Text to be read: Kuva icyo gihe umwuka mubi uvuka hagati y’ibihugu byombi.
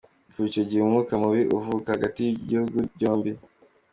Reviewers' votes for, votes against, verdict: 2, 0, accepted